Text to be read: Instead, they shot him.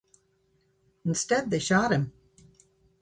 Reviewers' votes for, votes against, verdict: 2, 0, accepted